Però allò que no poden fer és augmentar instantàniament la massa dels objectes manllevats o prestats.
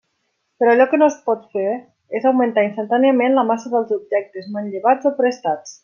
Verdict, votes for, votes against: rejected, 0, 2